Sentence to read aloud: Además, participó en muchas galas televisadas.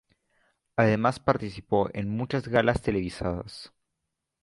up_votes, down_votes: 2, 0